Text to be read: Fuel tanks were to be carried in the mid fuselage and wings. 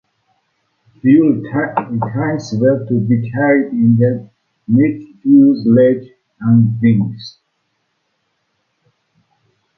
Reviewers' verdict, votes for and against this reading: rejected, 0, 2